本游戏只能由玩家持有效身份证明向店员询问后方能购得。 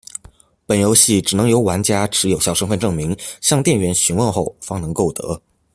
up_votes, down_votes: 2, 0